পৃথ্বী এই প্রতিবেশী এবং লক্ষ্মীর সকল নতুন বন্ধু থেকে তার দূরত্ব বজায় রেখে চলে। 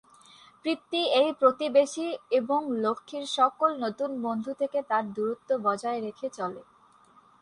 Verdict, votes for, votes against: rejected, 4, 4